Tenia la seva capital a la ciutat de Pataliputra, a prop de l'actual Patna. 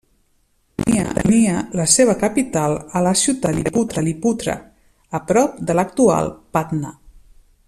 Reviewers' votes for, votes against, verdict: 0, 2, rejected